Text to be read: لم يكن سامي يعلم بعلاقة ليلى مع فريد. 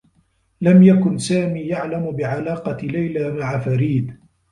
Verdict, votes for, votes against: accepted, 2, 1